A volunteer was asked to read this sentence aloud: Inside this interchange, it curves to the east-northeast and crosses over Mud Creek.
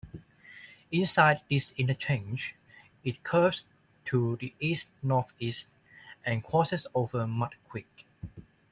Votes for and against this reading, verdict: 2, 0, accepted